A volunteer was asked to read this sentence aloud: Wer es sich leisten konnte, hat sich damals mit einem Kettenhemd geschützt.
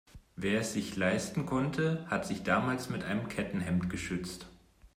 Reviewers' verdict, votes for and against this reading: accepted, 2, 0